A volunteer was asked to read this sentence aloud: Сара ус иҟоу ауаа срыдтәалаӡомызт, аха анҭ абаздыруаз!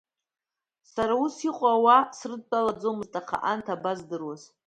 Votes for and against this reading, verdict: 2, 0, accepted